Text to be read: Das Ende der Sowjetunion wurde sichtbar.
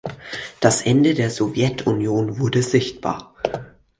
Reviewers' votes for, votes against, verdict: 4, 0, accepted